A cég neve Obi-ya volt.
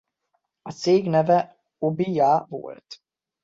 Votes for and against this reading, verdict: 2, 1, accepted